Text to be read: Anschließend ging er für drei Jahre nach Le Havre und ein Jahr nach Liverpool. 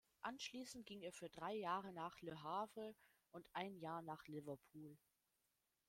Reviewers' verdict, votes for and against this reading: rejected, 0, 2